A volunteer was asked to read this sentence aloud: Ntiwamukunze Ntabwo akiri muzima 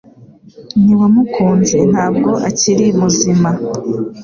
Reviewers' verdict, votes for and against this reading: accepted, 2, 0